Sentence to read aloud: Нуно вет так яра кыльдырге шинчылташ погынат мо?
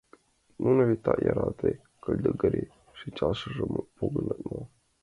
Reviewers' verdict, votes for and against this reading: rejected, 0, 2